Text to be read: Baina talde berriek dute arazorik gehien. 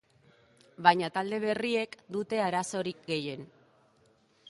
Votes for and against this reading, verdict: 2, 0, accepted